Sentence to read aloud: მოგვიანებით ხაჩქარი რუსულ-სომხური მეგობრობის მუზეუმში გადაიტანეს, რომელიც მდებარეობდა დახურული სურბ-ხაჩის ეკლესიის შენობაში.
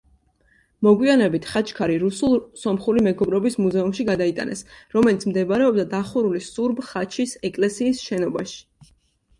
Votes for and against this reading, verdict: 2, 0, accepted